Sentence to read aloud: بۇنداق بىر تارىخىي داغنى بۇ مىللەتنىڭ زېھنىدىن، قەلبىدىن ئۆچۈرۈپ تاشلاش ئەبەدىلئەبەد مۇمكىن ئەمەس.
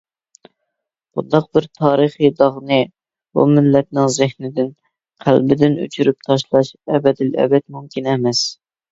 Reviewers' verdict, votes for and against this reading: accepted, 2, 0